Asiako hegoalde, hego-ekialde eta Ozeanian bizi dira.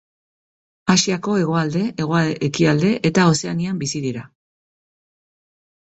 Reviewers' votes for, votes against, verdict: 2, 0, accepted